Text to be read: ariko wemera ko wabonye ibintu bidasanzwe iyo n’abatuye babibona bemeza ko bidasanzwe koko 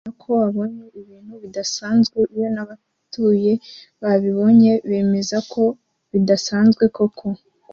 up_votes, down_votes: 1, 2